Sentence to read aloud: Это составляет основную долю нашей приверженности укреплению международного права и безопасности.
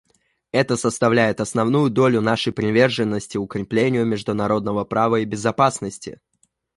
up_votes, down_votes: 0, 2